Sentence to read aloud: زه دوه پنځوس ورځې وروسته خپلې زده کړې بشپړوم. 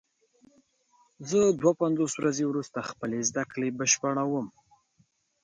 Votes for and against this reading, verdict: 2, 0, accepted